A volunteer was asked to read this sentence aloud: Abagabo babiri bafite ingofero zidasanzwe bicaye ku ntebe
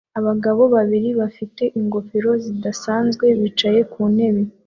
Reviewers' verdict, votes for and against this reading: accepted, 2, 0